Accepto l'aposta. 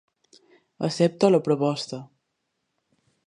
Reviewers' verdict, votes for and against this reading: rejected, 0, 2